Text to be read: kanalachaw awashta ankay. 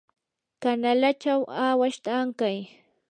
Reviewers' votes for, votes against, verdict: 4, 0, accepted